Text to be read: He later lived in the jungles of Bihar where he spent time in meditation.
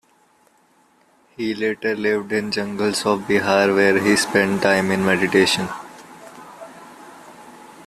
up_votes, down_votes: 2, 1